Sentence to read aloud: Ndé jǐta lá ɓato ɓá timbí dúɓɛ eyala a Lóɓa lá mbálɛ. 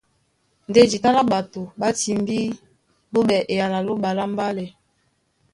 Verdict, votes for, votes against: rejected, 0, 3